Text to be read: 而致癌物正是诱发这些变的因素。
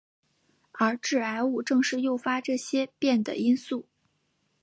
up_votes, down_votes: 3, 0